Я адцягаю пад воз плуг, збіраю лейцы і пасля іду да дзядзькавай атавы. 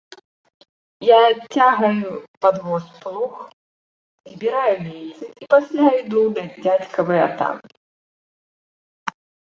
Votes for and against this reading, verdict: 0, 2, rejected